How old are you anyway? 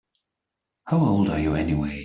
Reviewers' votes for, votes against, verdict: 3, 0, accepted